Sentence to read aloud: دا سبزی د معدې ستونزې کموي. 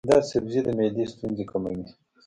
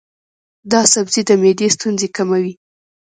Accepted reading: first